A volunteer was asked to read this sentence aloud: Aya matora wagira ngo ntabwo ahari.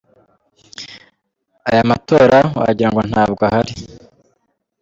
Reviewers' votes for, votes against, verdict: 2, 1, accepted